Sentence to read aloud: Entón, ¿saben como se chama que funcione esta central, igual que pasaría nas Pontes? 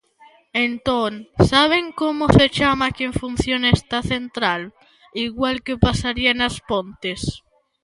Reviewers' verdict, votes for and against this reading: rejected, 0, 2